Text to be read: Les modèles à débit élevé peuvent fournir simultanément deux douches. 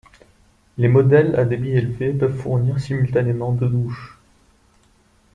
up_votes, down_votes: 1, 2